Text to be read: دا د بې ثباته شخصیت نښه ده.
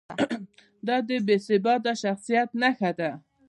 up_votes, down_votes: 0, 2